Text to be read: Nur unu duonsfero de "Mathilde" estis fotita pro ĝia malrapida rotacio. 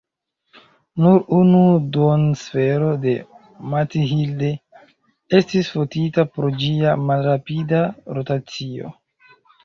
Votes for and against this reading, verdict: 1, 2, rejected